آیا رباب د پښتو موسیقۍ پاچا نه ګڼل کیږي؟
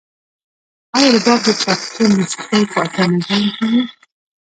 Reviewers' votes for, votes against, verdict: 1, 2, rejected